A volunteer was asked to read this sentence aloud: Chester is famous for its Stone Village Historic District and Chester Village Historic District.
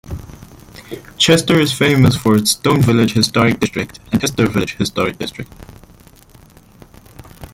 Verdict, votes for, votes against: rejected, 1, 2